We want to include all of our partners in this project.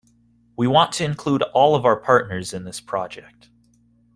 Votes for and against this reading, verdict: 2, 0, accepted